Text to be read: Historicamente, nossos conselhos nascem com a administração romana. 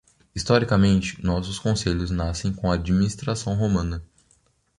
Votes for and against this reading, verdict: 2, 0, accepted